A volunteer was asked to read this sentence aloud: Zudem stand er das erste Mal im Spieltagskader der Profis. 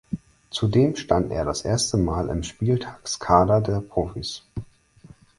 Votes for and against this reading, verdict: 4, 0, accepted